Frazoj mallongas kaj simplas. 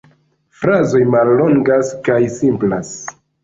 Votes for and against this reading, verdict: 2, 0, accepted